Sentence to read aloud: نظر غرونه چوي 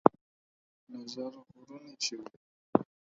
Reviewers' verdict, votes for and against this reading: rejected, 2, 4